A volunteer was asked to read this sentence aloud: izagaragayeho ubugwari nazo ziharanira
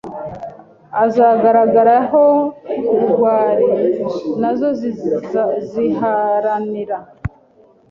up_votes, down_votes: 1, 2